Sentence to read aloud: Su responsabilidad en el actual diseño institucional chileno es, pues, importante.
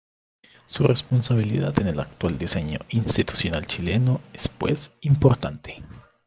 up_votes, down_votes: 1, 2